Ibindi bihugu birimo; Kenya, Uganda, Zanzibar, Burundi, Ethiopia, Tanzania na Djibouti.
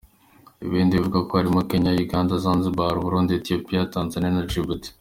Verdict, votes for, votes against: rejected, 1, 2